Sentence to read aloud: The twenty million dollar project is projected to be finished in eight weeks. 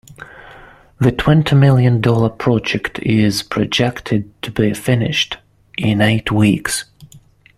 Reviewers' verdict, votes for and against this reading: accepted, 2, 0